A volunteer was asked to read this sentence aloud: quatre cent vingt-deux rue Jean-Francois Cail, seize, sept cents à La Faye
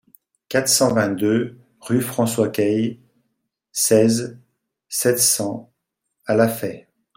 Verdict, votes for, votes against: rejected, 0, 2